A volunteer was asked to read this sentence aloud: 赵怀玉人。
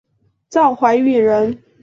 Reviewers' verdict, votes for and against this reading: accepted, 4, 0